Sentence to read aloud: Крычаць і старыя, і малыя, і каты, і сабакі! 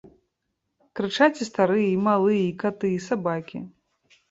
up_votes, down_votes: 2, 0